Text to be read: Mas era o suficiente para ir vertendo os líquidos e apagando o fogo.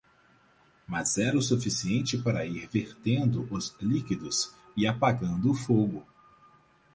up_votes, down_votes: 4, 0